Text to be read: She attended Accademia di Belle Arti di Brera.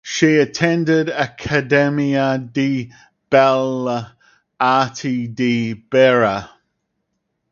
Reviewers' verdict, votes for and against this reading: rejected, 2, 2